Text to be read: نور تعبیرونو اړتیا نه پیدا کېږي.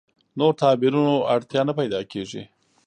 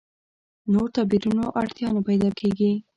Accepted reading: first